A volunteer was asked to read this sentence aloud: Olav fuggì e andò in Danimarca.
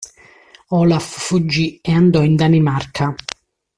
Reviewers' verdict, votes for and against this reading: accepted, 2, 0